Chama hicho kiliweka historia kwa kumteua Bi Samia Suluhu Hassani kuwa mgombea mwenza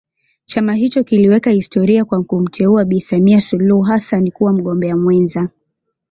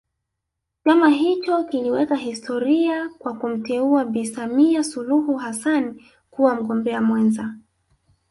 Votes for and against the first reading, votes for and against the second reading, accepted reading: 2, 0, 1, 2, first